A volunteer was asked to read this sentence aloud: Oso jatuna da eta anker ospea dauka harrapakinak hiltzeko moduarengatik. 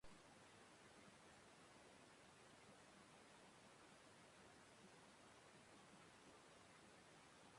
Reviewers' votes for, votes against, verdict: 0, 2, rejected